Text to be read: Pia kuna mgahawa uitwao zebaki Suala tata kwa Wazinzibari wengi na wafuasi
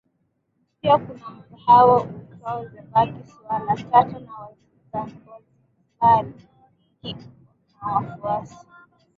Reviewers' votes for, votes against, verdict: 0, 2, rejected